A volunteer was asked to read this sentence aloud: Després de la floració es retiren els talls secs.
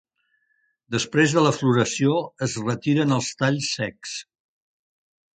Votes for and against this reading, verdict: 3, 0, accepted